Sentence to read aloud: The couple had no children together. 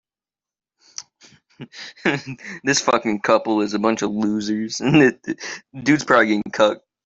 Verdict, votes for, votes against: rejected, 0, 2